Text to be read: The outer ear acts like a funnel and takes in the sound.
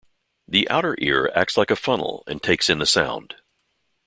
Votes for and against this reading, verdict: 2, 0, accepted